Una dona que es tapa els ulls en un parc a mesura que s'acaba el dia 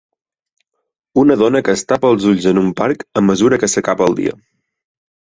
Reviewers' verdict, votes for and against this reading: rejected, 3, 6